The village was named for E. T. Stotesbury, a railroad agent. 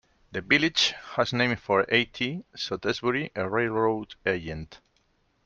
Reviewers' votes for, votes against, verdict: 2, 1, accepted